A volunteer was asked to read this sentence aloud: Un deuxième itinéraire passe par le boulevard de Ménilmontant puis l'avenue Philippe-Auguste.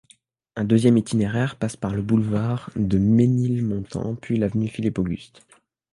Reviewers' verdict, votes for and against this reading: accepted, 2, 0